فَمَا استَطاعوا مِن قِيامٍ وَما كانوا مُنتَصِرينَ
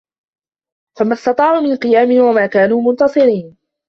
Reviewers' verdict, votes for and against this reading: accepted, 2, 1